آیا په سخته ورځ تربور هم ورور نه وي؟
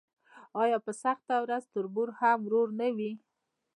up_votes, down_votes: 0, 2